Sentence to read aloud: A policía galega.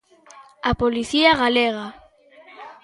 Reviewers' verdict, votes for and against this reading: accepted, 2, 0